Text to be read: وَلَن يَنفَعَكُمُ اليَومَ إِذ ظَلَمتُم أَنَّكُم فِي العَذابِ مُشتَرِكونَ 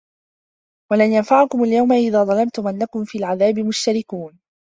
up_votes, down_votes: 2, 1